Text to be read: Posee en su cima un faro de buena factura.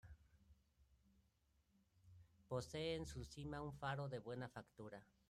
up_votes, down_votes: 1, 2